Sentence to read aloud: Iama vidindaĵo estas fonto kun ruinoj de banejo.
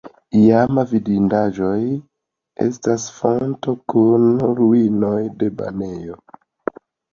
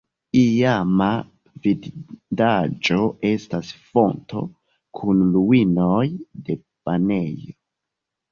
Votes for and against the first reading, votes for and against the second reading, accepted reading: 2, 0, 0, 2, first